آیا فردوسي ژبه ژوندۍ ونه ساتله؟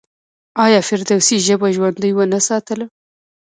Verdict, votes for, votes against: rejected, 1, 2